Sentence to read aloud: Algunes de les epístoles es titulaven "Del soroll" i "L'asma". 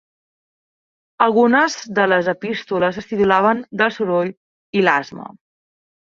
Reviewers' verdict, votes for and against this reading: accepted, 2, 0